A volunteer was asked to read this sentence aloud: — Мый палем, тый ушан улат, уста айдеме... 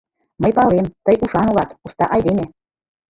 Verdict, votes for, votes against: rejected, 0, 2